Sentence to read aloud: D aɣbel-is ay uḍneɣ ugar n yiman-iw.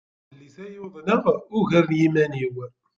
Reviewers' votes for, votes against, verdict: 0, 2, rejected